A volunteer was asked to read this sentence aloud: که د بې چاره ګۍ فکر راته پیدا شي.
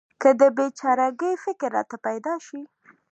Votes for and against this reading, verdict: 2, 0, accepted